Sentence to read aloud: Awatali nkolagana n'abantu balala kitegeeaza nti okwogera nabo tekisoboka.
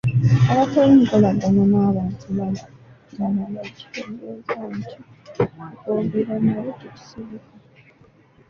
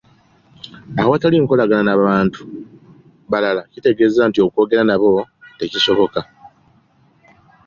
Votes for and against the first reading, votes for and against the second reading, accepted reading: 0, 2, 2, 0, second